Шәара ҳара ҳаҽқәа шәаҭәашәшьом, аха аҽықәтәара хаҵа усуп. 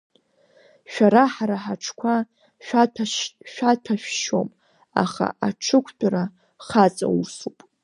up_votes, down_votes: 1, 2